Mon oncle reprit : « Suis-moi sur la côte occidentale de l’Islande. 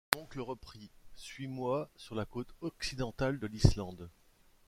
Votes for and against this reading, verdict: 0, 2, rejected